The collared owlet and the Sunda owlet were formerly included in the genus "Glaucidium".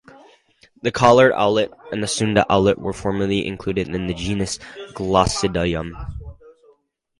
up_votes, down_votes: 2, 2